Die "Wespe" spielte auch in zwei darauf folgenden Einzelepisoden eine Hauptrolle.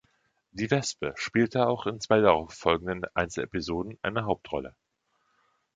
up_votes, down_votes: 1, 2